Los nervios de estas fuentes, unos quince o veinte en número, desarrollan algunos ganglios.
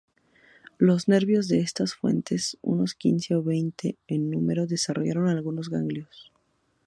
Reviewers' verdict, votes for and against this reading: accepted, 2, 0